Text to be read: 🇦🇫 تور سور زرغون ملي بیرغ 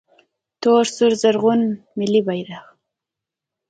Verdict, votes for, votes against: accepted, 2, 0